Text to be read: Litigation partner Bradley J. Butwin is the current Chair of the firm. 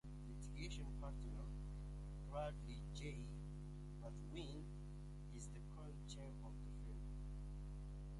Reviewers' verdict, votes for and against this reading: rejected, 0, 2